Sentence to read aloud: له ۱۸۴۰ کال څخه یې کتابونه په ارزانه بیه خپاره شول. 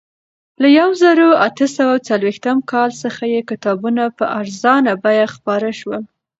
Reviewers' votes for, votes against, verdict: 0, 2, rejected